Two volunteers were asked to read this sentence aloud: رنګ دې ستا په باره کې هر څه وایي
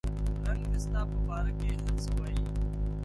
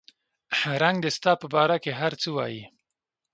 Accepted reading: second